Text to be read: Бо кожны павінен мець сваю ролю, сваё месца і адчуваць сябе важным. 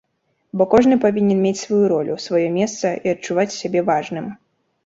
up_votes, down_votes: 2, 0